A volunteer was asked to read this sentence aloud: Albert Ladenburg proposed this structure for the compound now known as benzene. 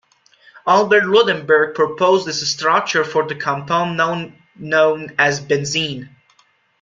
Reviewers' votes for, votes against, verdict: 1, 2, rejected